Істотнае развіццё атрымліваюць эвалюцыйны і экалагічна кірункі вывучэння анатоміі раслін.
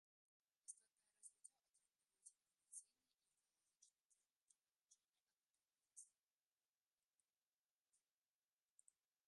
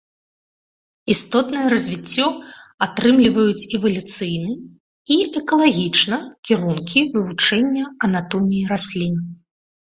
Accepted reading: second